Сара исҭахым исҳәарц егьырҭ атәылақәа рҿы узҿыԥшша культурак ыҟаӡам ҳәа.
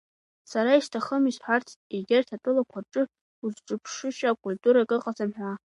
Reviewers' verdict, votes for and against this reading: rejected, 1, 2